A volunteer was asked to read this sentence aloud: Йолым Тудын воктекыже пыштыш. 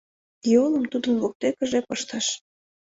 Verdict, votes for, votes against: accepted, 2, 0